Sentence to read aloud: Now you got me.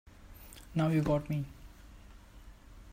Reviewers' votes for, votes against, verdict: 3, 0, accepted